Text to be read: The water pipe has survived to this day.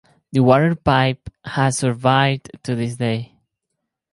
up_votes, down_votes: 2, 2